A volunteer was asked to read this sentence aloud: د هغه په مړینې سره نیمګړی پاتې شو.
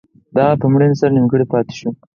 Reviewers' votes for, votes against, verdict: 0, 4, rejected